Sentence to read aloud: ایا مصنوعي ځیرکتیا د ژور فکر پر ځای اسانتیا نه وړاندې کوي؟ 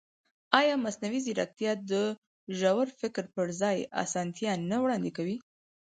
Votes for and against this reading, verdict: 4, 0, accepted